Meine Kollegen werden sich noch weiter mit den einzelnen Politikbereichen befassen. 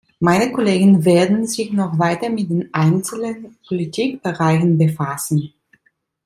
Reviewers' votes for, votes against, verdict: 2, 0, accepted